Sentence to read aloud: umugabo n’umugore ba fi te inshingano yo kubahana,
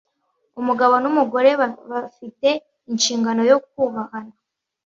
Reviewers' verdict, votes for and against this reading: rejected, 1, 2